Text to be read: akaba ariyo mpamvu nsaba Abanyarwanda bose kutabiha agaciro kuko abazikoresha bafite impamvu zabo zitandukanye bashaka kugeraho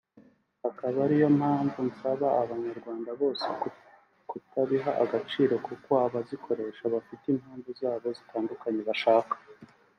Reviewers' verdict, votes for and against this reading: rejected, 1, 2